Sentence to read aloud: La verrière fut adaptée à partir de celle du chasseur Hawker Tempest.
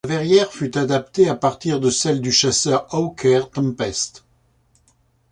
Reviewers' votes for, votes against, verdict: 2, 0, accepted